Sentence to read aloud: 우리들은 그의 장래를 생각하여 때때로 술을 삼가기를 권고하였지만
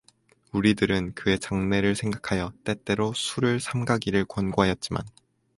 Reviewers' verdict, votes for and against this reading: accepted, 2, 0